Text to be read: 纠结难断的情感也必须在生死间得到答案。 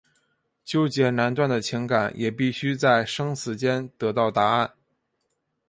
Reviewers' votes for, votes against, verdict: 1, 2, rejected